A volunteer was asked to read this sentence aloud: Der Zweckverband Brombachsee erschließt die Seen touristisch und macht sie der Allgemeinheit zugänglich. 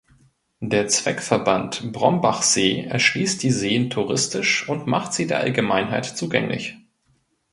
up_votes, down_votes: 2, 0